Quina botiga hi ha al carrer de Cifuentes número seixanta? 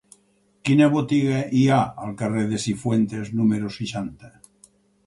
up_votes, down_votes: 4, 0